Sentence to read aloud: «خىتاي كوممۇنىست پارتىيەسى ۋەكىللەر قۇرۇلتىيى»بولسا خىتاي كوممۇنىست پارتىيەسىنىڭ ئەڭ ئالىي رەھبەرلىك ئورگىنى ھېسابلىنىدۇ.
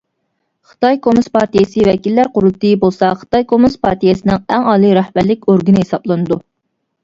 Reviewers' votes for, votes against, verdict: 1, 2, rejected